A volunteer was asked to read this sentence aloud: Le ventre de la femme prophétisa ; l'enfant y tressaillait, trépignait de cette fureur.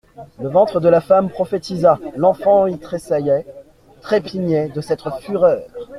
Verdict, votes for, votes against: rejected, 0, 2